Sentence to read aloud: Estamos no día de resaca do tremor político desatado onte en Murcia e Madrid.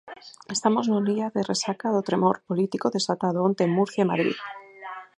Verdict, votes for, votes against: rejected, 2, 4